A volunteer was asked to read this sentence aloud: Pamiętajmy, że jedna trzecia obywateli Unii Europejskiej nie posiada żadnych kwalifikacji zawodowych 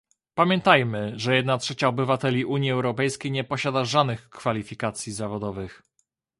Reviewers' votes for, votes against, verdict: 1, 2, rejected